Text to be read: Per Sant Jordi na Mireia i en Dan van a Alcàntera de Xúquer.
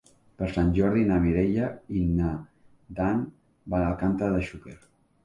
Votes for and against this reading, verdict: 0, 3, rejected